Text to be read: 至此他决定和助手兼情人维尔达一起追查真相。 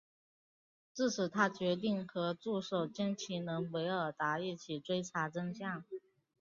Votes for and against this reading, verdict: 2, 0, accepted